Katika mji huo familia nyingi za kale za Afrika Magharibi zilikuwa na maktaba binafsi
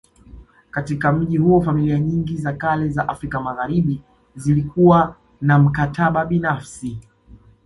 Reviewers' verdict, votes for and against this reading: accepted, 2, 1